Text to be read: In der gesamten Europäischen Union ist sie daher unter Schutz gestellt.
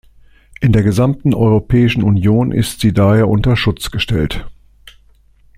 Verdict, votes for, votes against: accepted, 2, 0